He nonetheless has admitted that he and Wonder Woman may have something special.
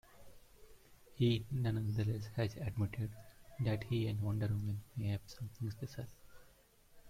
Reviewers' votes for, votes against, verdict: 1, 2, rejected